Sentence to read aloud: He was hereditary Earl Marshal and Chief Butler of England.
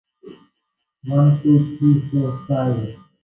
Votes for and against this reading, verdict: 0, 2, rejected